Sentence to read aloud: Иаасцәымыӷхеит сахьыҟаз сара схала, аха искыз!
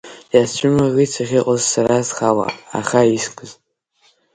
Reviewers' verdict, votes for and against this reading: rejected, 0, 3